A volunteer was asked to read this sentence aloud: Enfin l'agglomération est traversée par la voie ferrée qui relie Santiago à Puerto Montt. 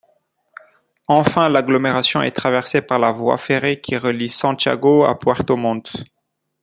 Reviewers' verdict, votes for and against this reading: accepted, 2, 0